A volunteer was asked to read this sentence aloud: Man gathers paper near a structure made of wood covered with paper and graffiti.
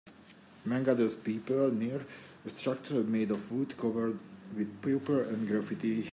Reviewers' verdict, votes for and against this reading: accepted, 2, 0